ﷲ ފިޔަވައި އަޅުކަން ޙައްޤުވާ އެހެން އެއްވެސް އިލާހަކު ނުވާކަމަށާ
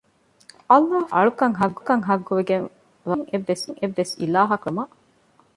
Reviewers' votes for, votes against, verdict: 0, 2, rejected